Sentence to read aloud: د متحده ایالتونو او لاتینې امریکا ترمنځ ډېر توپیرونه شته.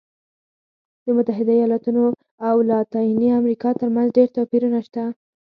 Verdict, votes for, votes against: rejected, 2, 4